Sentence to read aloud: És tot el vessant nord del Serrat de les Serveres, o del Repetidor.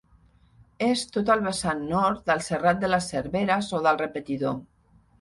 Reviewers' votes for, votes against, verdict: 4, 0, accepted